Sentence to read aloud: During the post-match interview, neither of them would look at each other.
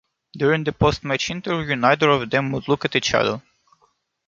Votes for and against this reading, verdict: 1, 2, rejected